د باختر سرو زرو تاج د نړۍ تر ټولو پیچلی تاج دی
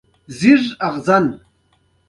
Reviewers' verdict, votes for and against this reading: accepted, 2, 0